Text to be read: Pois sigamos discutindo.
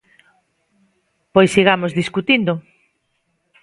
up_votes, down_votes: 2, 0